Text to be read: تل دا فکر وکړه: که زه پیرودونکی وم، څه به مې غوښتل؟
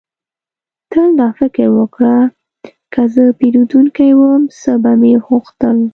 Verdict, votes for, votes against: rejected, 1, 2